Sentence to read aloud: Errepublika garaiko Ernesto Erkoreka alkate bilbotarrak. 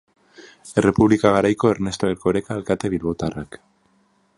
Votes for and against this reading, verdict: 3, 0, accepted